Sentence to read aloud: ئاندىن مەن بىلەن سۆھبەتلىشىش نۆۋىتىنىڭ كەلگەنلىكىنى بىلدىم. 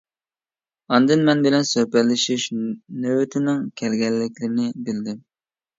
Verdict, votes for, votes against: rejected, 1, 2